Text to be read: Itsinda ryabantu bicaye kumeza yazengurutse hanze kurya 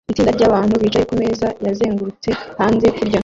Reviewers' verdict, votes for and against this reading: rejected, 0, 2